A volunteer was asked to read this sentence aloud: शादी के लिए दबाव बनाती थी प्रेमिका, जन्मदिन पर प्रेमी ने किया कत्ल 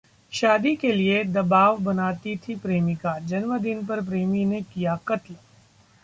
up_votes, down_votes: 0, 2